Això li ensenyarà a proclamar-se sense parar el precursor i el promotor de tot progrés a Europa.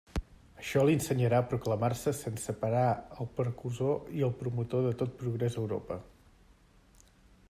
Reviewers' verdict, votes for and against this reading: rejected, 1, 2